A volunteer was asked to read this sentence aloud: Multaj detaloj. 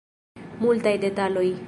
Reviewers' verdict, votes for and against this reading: rejected, 1, 2